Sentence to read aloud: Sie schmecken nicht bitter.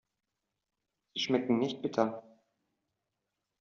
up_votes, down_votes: 1, 2